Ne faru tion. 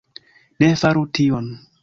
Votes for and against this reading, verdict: 2, 0, accepted